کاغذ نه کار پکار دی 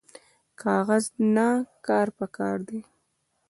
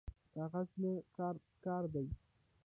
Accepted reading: second